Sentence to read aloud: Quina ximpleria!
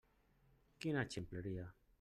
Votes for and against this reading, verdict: 2, 0, accepted